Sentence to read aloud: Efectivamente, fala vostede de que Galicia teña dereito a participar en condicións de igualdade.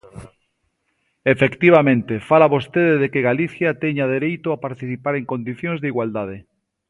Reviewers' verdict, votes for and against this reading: accepted, 2, 0